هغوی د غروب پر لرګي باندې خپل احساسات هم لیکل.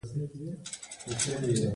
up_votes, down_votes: 2, 0